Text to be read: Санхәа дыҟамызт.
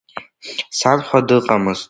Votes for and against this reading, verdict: 2, 0, accepted